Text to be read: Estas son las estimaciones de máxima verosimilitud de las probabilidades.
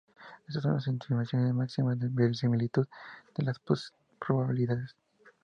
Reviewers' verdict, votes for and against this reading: rejected, 0, 2